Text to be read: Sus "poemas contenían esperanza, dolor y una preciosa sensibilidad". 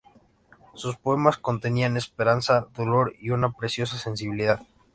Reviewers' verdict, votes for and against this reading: accepted, 2, 0